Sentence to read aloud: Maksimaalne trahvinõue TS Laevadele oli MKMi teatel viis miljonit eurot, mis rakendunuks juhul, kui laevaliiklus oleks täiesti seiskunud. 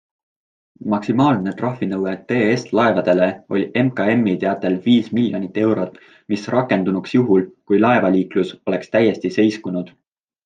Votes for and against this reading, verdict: 2, 0, accepted